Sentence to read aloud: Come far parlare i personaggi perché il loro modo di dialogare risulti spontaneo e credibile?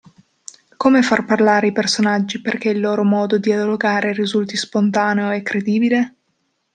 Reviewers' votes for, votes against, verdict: 1, 2, rejected